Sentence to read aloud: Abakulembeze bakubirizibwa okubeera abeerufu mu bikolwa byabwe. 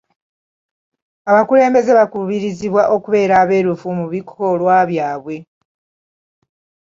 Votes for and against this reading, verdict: 2, 0, accepted